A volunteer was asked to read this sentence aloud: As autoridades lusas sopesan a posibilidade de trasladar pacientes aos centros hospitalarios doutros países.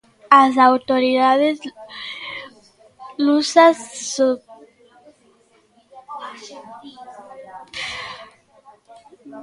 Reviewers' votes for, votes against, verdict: 0, 2, rejected